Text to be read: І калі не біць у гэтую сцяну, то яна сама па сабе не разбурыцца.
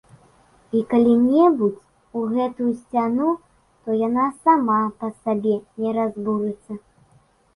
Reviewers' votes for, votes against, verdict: 0, 2, rejected